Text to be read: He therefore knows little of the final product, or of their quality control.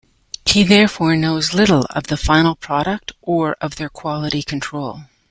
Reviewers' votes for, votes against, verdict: 2, 0, accepted